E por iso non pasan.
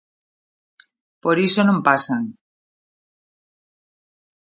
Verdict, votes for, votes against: rejected, 0, 3